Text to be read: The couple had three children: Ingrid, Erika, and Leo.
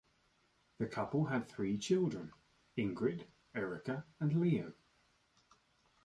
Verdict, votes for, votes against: accepted, 2, 0